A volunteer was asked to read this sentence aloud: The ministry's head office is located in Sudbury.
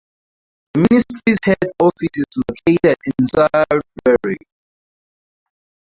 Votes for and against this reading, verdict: 2, 2, rejected